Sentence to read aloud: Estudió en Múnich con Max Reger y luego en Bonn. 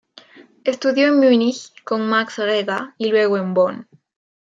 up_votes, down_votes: 0, 2